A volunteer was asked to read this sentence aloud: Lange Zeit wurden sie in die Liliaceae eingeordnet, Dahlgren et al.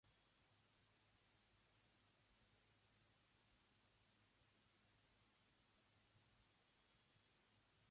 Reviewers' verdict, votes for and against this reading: rejected, 0, 3